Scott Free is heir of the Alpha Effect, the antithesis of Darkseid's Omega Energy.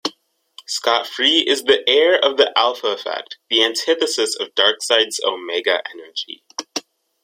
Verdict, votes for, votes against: rejected, 0, 2